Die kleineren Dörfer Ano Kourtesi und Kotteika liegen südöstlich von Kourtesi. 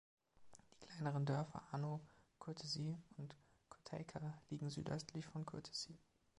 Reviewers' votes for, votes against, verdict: 2, 1, accepted